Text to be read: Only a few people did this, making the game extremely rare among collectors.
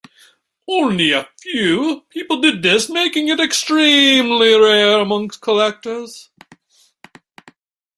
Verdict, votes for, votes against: rejected, 0, 2